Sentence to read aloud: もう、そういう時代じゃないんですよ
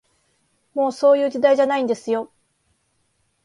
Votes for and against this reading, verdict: 2, 0, accepted